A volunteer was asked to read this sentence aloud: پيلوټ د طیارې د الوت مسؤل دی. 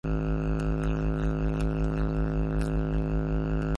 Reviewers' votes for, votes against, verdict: 0, 2, rejected